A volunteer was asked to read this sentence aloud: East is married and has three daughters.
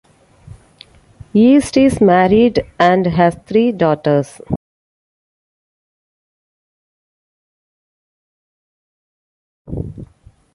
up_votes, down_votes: 2, 0